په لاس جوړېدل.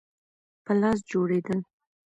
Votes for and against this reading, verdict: 0, 2, rejected